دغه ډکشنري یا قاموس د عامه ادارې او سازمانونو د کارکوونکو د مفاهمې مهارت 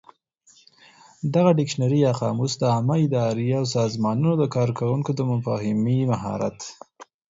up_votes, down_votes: 4, 0